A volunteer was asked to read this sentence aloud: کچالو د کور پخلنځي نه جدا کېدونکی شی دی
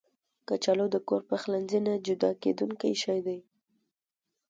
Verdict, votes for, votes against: accepted, 2, 0